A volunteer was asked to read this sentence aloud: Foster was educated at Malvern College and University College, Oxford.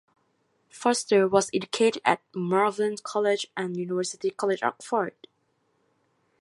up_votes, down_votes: 2, 0